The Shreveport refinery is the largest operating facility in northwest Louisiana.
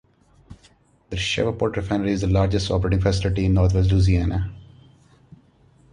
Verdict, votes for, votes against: rejected, 1, 2